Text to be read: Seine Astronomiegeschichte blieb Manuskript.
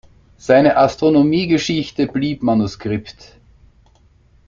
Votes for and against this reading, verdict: 2, 0, accepted